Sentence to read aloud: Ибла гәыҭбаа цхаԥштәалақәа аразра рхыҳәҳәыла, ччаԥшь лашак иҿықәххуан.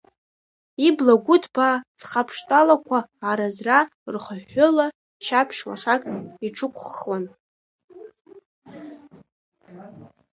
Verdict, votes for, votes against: accepted, 3, 1